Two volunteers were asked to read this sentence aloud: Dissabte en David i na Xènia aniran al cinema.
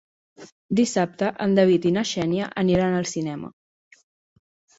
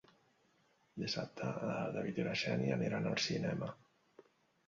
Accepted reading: first